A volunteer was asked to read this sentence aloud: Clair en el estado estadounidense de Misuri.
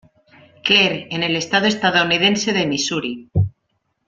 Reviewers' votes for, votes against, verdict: 2, 1, accepted